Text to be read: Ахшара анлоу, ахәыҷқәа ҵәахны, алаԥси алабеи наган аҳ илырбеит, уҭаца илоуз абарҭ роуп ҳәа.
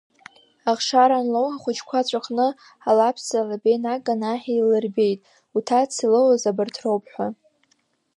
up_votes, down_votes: 1, 2